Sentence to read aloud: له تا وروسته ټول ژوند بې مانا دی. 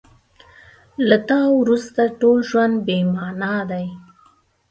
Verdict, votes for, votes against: accepted, 2, 0